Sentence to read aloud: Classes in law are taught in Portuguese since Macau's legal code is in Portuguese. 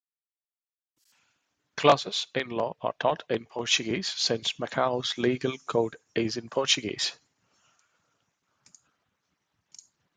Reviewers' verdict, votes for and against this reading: accepted, 2, 1